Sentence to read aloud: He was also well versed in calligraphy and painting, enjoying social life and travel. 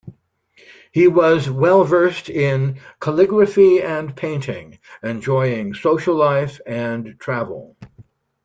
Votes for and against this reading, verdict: 1, 2, rejected